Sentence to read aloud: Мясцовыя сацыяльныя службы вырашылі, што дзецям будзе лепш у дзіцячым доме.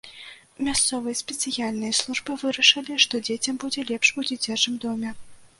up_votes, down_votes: 1, 2